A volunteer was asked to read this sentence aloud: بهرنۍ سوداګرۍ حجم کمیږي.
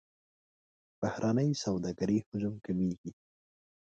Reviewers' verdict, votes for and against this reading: rejected, 1, 2